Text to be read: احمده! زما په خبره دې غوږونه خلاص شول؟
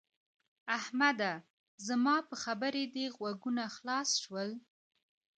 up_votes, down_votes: 2, 1